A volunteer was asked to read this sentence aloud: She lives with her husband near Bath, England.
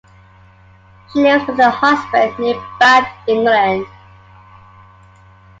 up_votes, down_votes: 2, 0